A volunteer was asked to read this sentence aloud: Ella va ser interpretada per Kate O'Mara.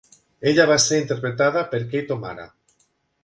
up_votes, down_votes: 2, 0